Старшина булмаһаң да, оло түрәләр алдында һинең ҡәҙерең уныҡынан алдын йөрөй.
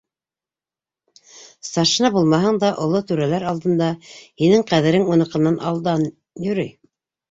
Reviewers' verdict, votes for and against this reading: rejected, 2, 3